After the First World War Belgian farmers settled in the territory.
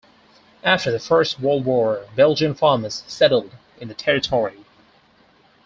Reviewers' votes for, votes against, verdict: 4, 0, accepted